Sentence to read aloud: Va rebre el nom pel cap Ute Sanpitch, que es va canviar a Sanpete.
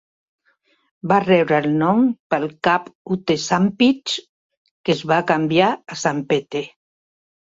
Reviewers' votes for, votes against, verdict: 3, 0, accepted